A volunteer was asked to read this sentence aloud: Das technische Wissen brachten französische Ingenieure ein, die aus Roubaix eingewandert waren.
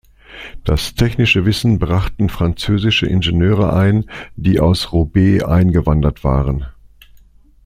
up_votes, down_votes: 2, 0